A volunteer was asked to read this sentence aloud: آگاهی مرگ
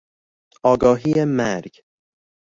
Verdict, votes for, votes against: accepted, 2, 0